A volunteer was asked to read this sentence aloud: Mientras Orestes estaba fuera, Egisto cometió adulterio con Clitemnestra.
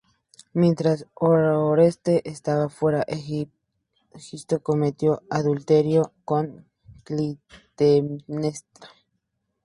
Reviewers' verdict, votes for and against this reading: rejected, 0, 6